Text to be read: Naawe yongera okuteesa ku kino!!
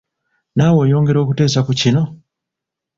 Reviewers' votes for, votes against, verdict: 1, 2, rejected